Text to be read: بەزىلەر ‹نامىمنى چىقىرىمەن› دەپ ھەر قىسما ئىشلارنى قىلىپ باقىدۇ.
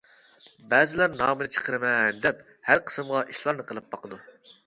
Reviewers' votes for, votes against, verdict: 1, 2, rejected